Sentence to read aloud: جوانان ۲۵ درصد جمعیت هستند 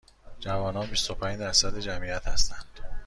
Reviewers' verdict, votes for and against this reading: rejected, 0, 2